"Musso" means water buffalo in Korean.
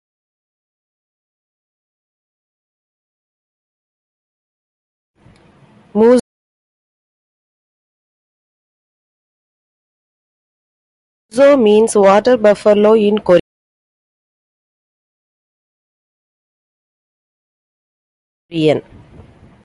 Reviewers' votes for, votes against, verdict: 0, 2, rejected